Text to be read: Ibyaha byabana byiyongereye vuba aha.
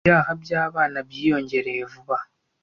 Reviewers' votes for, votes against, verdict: 2, 0, accepted